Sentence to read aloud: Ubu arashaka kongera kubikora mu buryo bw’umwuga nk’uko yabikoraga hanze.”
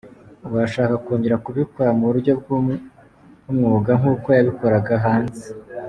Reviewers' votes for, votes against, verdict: 1, 2, rejected